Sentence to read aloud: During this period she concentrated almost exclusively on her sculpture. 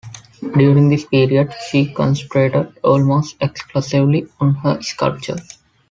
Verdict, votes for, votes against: accepted, 3, 0